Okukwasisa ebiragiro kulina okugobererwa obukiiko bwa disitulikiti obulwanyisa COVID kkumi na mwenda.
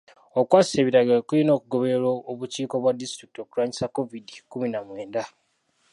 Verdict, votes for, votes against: rejected, 1, 2